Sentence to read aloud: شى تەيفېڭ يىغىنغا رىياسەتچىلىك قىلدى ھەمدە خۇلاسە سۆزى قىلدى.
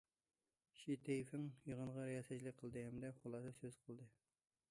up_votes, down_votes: 0, 2